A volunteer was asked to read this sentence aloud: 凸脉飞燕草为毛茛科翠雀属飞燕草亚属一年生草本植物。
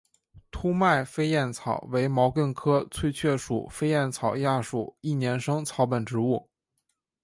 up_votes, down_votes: 2, 1